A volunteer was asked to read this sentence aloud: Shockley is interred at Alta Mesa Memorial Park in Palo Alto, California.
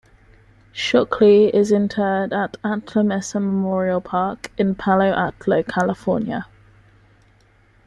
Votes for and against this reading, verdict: 1, 2, rejected